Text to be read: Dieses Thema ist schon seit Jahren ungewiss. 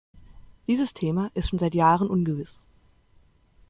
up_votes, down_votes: 2, 0